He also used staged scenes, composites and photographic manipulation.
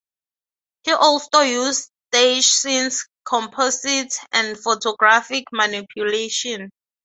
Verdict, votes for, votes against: accepted, 3, 0